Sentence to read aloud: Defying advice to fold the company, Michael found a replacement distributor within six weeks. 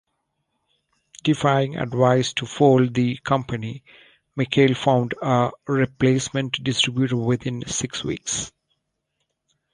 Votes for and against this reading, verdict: 2, 1, accepted